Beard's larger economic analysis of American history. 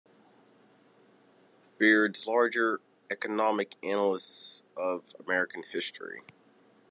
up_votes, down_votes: 0, 3